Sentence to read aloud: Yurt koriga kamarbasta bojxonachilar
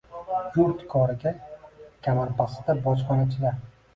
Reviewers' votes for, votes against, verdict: 0, 2, rejected